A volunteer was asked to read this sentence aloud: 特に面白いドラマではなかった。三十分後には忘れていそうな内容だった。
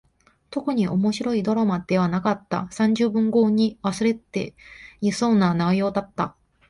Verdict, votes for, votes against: rejected, 0, 2